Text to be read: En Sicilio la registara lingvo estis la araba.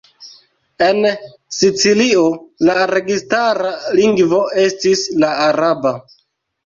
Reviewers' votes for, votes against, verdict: 1, 2, rejected